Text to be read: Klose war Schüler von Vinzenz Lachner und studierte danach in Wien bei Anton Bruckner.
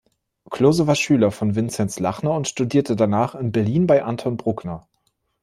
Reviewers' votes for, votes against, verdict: 0, 2, rejected